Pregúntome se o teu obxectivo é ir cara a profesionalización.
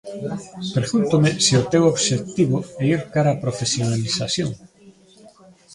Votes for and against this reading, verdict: 2, 1, accepted